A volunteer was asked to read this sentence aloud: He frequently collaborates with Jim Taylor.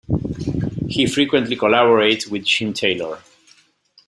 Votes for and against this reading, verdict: 2, 0, accepted